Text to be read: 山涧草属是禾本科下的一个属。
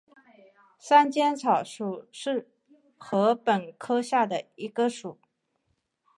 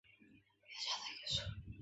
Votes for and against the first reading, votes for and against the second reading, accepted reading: 3, 0, 1, 4, first